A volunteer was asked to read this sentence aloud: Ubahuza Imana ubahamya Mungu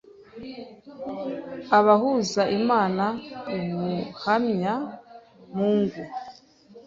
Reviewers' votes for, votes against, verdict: 0, 2, rejected